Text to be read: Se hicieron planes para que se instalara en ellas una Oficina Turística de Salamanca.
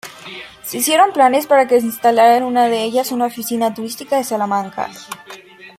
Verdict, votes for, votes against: rejected, 1, 2